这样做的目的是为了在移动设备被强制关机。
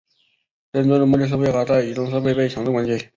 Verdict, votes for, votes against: rejected, 1, 2